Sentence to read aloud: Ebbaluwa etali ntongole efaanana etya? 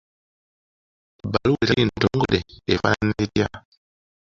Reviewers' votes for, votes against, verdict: 0, 2, rejected